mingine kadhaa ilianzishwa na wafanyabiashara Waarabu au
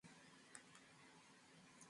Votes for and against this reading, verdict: 0, 2, rejected